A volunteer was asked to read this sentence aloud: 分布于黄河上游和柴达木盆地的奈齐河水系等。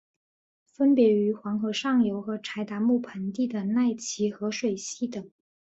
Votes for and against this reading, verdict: 2, 0, accepted